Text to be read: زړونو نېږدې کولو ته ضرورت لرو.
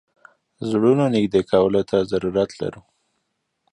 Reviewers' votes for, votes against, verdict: 2, 1, accepted